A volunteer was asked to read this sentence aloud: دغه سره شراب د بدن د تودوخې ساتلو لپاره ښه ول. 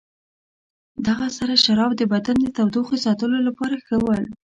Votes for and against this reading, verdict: 2, 0, accepted